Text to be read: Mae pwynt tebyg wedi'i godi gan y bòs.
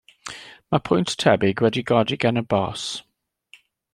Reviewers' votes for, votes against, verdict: 2, 0, accepted